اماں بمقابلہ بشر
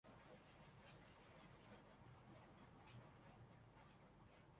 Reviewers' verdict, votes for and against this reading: rejected, 0, 4